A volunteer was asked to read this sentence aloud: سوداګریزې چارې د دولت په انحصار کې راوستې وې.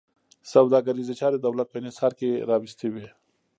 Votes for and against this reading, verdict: 0, 2, rejected